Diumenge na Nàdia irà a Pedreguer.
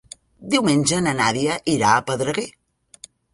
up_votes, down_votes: 2, 0